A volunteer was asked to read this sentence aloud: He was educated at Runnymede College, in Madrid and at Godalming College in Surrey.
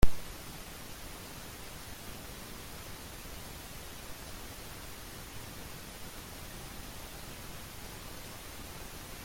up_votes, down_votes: 0, 2